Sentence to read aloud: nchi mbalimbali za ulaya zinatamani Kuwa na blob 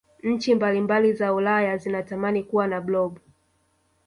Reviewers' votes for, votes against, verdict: 0, 2, rejected